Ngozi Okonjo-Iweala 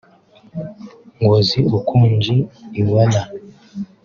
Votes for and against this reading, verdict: 2, 1, accepted